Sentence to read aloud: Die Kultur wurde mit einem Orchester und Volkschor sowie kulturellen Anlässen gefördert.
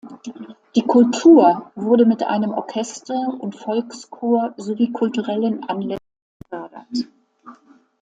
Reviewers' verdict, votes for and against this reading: rejected, 0, 2